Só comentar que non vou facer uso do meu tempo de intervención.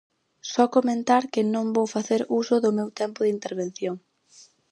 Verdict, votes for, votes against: accepted, 4, 0